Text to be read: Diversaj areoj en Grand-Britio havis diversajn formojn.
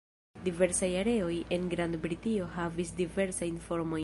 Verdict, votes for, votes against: rejected, 0, 2